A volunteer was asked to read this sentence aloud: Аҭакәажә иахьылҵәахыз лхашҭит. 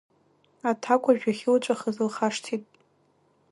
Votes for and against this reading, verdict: 2, 0, accepted